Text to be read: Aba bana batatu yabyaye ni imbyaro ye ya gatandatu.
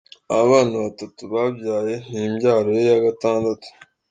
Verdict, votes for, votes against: accepted, 2, 1